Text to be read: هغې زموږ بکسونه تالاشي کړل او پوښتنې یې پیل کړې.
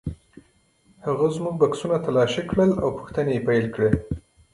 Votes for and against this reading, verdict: 2, 1, accepted